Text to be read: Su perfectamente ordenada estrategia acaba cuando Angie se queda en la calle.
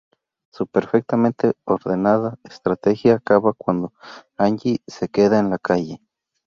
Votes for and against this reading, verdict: 2, 4, rejected